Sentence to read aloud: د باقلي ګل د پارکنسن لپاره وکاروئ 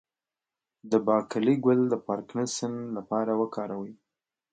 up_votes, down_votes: 2, 0